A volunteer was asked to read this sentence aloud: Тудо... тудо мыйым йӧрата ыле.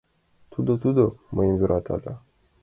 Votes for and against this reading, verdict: 0, 3, rejected